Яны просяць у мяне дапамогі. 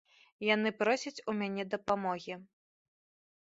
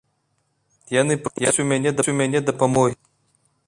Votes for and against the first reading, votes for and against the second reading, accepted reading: 2, 0, 1, 2, first